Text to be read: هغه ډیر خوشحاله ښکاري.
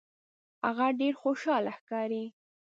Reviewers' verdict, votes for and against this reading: accepted, 2, 0